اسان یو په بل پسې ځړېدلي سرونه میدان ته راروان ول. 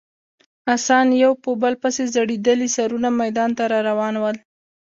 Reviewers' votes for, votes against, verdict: 2, 1, accepted